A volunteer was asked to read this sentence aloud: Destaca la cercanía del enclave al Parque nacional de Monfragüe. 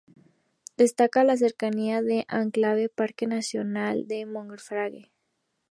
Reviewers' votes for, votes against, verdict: 0, 2, rejected